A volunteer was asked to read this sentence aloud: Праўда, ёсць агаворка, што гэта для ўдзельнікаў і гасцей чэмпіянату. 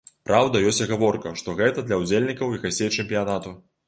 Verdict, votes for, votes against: accepted, 2, 0